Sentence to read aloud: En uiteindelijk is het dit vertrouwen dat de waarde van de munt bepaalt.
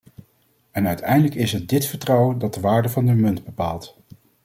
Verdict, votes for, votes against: accepted, 2, 0